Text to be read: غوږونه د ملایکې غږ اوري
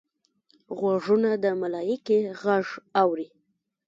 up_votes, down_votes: 0, 2